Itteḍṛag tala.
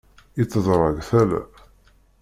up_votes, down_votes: 2, 1